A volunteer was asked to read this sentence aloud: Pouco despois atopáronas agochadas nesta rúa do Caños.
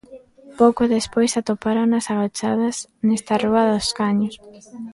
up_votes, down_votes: 1, 2